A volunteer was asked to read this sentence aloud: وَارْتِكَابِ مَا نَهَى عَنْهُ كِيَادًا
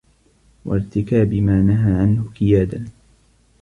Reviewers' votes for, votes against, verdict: 0, 2, rejected